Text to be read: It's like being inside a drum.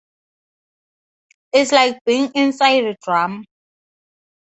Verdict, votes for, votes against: accepted, 4, 0